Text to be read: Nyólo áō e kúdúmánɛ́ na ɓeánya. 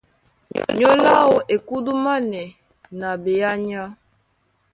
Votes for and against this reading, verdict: 0, 2, rejected